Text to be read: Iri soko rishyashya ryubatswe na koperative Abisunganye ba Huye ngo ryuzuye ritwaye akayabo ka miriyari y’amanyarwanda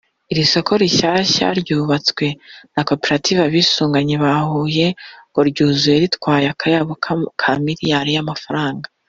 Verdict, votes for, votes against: rejected, 1, 2